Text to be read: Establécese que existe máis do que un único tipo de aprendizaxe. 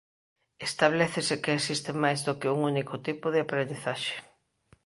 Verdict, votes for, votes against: accepted, 2, 1